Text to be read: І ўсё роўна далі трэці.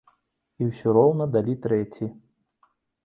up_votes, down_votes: 2, 0